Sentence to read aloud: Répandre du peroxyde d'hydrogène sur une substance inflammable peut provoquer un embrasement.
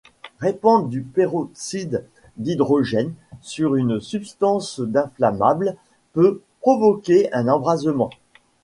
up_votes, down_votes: 0, 2